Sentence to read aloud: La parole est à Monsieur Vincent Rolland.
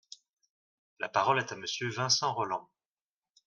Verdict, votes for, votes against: accepted, 2, 0